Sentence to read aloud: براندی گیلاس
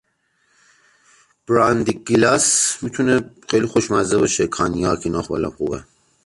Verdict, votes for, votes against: rejected, 0, 2